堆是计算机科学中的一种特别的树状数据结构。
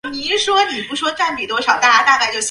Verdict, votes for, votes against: rejected, 0, 2